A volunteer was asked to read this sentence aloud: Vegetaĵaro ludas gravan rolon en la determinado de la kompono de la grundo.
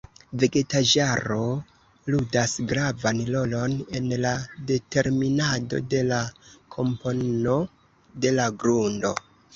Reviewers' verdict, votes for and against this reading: accepted, 2, 1